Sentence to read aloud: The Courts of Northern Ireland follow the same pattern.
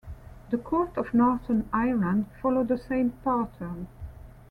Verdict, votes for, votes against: accepted, 2, 0